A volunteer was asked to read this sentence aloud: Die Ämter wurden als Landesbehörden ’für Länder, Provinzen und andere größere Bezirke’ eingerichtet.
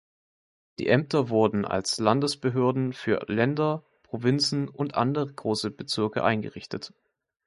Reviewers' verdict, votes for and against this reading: rejected, 0, 2